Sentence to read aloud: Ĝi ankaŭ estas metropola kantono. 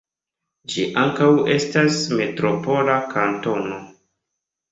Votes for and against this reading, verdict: 2, 0, accepted